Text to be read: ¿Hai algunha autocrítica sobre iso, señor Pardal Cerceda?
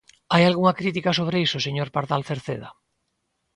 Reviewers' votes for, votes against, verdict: 0, 2, rejected